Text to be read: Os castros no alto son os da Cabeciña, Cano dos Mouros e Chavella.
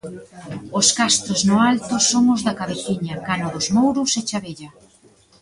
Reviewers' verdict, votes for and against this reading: rejected, 1, 2